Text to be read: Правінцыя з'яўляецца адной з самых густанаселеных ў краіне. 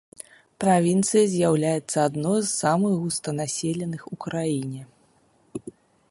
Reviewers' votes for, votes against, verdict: 2, 0, accepted